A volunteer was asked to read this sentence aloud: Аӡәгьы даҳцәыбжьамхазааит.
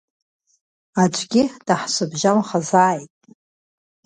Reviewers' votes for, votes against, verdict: 2, 0, accepted